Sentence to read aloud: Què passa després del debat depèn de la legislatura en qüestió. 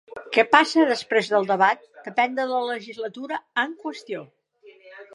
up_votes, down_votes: 2, 1